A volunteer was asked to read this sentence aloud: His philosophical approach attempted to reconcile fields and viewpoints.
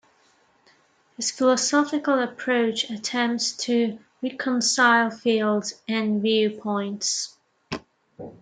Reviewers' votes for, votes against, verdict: 0, 2, rejected